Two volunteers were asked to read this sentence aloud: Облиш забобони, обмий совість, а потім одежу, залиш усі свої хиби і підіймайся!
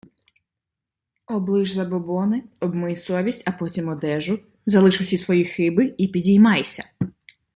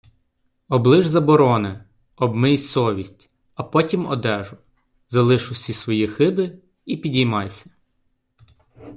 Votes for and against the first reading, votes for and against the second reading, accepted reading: 2, 0, 0, 2, first